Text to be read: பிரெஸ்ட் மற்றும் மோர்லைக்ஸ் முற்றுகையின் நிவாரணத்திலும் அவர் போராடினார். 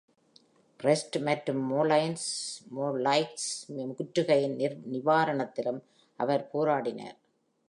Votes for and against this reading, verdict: 0, 2, rejected